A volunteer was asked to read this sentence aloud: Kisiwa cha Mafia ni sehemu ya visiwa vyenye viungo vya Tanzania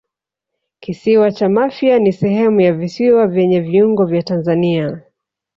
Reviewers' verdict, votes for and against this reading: accepted, 2, 0